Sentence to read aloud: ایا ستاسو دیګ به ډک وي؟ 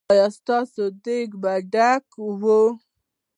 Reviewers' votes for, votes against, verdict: 2, 0, accepted